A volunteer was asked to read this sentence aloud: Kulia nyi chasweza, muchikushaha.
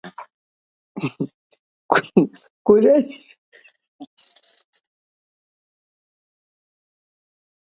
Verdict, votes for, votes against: rejected, 0, 2